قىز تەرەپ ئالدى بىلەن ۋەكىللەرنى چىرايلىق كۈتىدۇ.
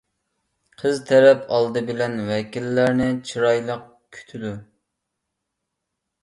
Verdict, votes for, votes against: accepted, 2, 0